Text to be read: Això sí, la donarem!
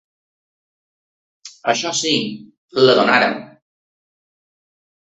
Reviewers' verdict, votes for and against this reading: rejected, 1, 2